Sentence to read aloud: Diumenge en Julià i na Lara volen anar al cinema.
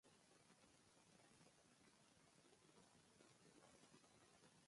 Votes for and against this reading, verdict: 0, 2, rejected